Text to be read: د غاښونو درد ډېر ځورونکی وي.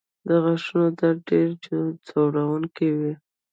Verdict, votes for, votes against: accepted, 2, 0